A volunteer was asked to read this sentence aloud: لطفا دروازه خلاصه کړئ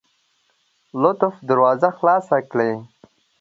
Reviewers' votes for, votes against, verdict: 1, 2, rejected